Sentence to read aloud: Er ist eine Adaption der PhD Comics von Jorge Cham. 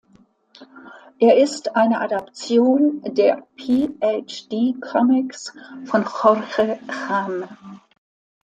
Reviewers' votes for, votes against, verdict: 2, 1, accepted